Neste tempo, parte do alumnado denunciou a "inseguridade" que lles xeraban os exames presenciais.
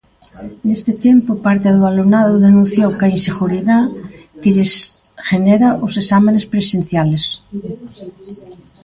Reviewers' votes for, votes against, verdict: 0, 2, rejected